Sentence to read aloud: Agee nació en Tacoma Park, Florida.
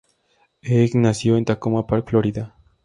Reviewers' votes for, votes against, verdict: 0, 2, rejected